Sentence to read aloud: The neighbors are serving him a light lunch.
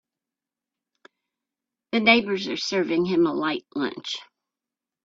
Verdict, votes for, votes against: accepted, 2, 0